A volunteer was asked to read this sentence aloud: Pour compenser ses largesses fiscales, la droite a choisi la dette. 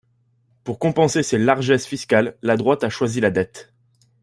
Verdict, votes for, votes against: accepted, 2, 0